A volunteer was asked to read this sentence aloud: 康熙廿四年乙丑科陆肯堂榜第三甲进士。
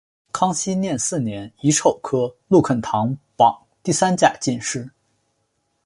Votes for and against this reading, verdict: 0, 2, rejected